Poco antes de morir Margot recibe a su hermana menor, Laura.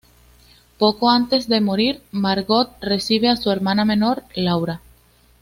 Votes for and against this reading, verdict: 2, 0, accepted